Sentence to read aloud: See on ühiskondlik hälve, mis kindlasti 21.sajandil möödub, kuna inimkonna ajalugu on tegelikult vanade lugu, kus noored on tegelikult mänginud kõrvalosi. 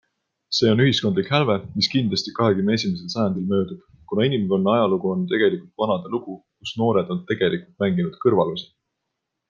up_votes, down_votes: 0, 2